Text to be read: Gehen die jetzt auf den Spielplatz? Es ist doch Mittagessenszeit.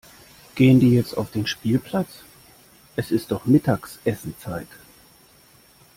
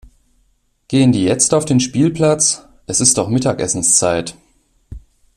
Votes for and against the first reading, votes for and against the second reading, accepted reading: 1, 2, 2, 0, second